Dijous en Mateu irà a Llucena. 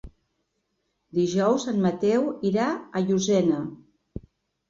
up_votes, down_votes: 1, 2